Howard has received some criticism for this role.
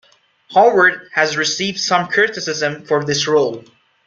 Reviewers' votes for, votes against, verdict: 2, 0, accepted